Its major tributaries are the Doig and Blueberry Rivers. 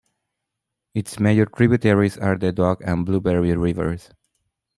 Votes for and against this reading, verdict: 1, 2, rejected